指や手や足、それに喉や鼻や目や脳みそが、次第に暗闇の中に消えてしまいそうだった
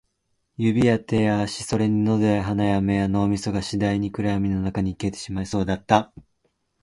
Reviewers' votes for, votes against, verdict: 2, 0, accepted